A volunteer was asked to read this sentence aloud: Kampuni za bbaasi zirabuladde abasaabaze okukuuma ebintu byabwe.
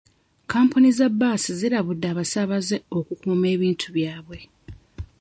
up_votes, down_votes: 2, 1